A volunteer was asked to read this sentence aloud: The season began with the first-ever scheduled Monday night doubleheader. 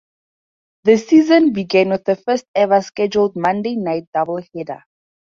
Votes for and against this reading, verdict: 4, 0, accepted